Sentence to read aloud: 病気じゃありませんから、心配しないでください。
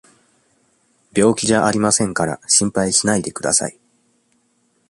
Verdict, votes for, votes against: accepted, 2, 0